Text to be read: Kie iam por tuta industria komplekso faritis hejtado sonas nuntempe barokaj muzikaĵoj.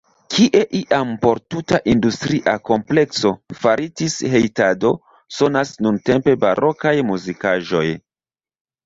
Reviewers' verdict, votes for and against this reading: rejected, 0, 2